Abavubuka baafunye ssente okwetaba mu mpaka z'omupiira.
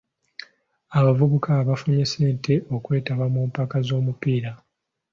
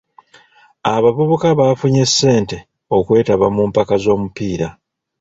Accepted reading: first